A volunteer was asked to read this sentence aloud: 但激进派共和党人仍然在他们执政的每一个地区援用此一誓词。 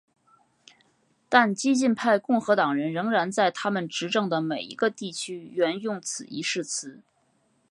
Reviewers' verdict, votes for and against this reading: accepted, 5, 1